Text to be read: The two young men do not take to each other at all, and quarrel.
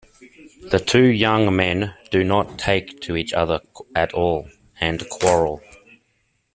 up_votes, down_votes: 2, 1